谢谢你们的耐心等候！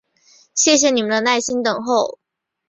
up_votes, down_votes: 3, 0